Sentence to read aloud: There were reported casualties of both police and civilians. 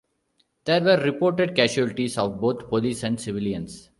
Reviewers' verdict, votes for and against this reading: rejected, 1, 2